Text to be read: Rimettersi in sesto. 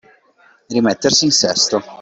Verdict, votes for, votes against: accepted, 2, 0